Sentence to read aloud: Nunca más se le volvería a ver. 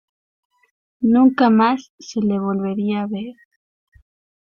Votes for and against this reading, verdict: 0, 2, rejected